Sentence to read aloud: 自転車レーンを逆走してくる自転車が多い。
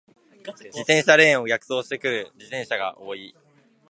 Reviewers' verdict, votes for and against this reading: accepted, 2, 0